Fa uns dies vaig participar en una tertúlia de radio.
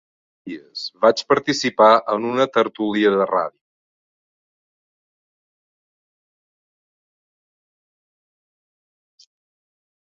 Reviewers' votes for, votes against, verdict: 1, 2, rejected